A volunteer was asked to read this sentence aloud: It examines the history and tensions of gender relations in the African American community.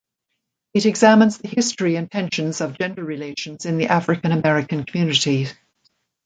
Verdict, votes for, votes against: rejected, 1, 2